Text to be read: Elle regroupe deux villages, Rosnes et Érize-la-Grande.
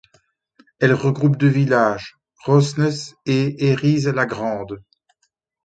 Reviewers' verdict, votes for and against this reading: rejected, 1, 2